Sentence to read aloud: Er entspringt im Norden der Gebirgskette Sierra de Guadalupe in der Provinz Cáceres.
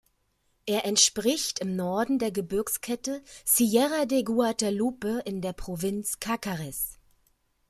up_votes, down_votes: 0, 2